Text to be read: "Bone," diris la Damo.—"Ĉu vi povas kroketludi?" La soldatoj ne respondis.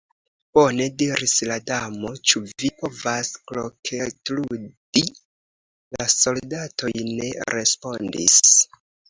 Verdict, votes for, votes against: rejected, 1, 2